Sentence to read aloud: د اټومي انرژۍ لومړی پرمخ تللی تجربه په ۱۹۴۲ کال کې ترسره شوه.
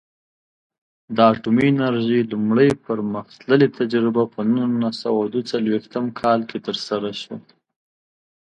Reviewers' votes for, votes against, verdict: 0, 2, rejected